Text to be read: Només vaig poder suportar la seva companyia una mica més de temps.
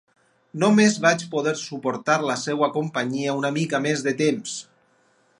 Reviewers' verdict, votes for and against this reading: rejected, 2, 4